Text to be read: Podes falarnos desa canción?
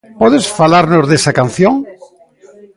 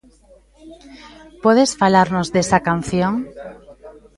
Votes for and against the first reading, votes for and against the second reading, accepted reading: 3, 0, 0, 2, first